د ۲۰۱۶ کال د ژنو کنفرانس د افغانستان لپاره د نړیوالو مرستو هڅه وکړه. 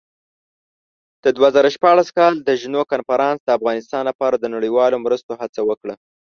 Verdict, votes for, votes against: rejected, 0, 2